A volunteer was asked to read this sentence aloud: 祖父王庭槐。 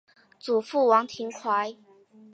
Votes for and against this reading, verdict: 3, 0, accepted